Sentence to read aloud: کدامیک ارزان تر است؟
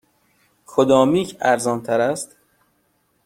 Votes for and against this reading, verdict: 0, 2, rejected